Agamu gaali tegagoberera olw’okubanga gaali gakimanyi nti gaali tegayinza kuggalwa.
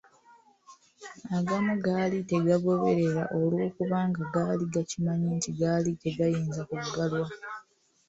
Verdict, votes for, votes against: accepted, 2, 0